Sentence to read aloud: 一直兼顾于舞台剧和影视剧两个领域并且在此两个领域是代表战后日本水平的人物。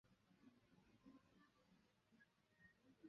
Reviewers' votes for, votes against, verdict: 0, 2, rejected